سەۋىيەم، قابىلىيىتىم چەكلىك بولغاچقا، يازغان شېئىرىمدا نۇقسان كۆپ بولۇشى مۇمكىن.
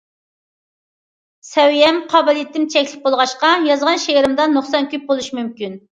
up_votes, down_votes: 2, 0